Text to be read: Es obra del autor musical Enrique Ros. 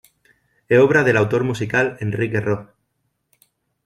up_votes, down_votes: 1, 2